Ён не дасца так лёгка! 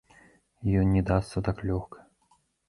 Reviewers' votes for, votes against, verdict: 2, 1, accepted